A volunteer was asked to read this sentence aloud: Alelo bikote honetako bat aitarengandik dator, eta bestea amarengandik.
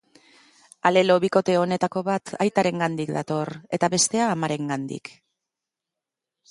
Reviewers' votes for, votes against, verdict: 3, 0, accepted